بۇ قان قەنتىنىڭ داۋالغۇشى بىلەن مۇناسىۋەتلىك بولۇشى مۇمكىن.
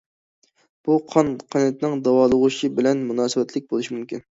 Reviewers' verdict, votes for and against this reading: accepted, 2, 0